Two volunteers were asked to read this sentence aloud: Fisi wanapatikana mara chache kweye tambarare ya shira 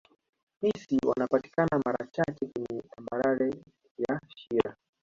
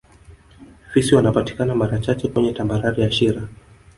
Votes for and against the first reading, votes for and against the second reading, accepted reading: 2, 0, 0, 2, first